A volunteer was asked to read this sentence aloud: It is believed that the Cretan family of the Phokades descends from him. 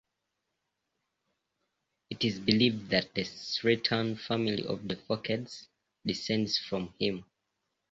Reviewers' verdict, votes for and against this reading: rejected, 1, 2